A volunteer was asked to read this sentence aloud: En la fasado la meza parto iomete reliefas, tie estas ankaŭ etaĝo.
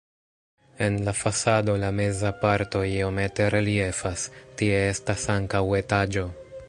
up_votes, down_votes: 2, 0